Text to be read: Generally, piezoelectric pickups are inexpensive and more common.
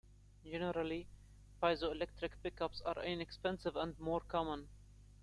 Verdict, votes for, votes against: rejected, 1, 2